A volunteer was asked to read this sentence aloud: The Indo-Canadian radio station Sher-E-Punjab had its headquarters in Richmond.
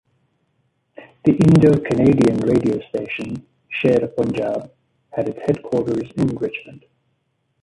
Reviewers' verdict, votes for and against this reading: rejected, 0, 2